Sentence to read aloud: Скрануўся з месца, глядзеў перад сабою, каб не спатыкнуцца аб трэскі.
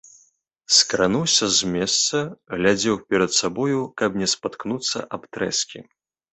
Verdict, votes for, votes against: rejected, 0, 2